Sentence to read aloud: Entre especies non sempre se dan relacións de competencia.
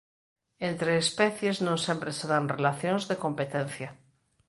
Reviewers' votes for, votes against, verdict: 2, 0, accepted